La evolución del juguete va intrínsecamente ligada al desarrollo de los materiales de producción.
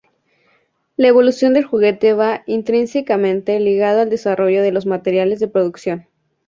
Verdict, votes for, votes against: rejected, 0, 2